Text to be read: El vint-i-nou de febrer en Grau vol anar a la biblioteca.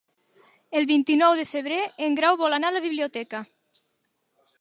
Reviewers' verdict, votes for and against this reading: accepted, 4, 0